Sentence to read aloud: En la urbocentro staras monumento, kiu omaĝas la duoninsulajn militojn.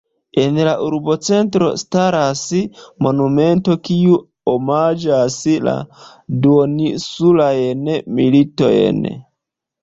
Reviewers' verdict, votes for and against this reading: accepted, 2, 0